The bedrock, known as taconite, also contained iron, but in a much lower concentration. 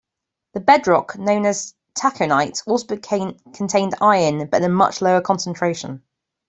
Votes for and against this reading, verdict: 1, 2, rejected